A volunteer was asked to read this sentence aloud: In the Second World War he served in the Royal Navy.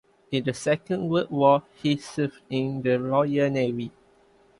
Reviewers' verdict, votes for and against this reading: accepted, 2, 0